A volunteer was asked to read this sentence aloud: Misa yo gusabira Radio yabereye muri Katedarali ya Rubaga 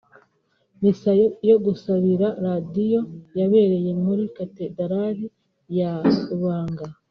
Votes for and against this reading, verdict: 1, 2, rejected